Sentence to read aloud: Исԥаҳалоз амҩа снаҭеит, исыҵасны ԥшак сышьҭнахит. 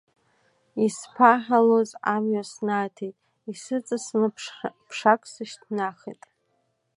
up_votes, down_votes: 0, 2